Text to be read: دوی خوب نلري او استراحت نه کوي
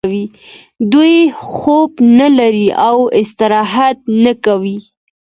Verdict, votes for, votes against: accepted, 2, 0